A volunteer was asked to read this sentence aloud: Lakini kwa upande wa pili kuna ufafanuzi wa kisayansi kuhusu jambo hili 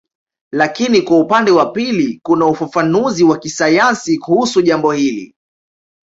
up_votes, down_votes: 2, 0